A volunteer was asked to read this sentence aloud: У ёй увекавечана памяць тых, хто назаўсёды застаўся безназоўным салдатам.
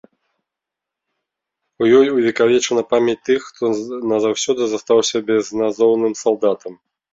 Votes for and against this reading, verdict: 0, 2, rejected